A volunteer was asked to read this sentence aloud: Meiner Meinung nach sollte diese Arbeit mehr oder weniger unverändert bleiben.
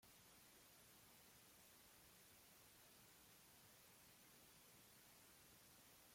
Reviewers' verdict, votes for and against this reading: rejected, 0, 2